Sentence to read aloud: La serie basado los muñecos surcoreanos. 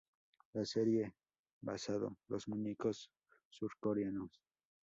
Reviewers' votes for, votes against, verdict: 0, 2, rejected